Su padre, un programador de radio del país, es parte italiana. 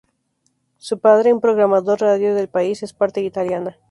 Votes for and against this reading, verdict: 4, 0, accepted